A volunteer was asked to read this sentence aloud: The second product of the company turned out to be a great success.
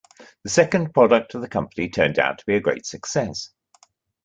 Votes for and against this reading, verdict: 2, 0, accepted